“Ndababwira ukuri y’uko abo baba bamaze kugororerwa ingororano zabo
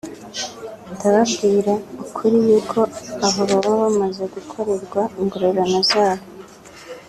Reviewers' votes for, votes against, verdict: 0, 2, rejected